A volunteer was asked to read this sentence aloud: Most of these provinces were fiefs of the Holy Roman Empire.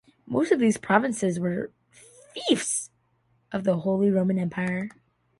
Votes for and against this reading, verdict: 2, 0, accepted